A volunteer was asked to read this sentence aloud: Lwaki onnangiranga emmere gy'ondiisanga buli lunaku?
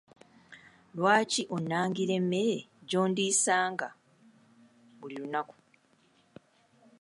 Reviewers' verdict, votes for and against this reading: accepted, 2, 0